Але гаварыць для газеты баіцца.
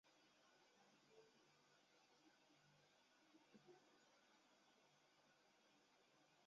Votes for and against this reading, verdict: 0, 2, rejected